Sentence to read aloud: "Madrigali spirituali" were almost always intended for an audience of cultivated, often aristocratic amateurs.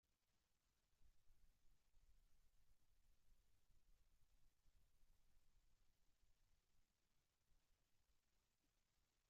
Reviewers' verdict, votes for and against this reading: rejected, 0, 2